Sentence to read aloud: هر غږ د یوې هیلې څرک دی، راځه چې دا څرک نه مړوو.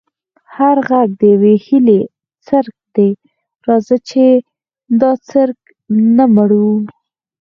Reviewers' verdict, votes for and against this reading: rejected, 0, 4